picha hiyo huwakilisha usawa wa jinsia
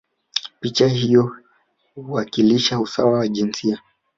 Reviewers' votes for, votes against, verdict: 2, 0, accepted